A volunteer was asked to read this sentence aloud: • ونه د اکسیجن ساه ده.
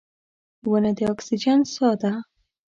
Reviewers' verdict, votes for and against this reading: accepted, 2, 0